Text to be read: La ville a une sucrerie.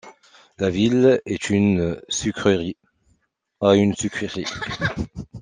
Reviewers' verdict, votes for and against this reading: rejected, 0, 2